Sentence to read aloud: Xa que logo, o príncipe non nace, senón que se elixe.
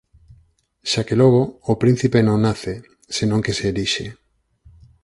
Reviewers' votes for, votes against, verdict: 4, 0, accepted